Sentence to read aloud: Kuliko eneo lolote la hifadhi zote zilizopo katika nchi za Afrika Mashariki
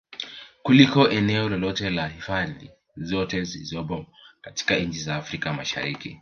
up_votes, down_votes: 2, 0